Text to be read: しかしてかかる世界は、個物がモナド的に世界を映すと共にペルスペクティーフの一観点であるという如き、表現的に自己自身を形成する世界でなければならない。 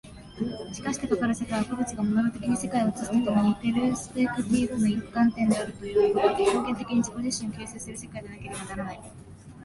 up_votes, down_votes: 1, 2